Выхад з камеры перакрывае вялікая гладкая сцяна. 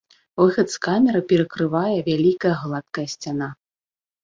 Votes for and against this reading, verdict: 2, 0, accepted